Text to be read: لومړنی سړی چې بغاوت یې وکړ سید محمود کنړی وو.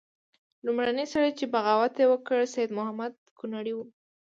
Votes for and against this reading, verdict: 2, 0, accepted